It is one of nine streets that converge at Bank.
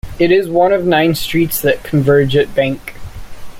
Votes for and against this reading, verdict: 2, 1, accepted